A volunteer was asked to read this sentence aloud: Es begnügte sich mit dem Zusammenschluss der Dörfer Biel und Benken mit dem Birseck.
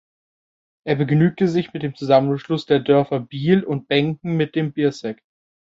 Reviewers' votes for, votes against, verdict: 0, 2, rejected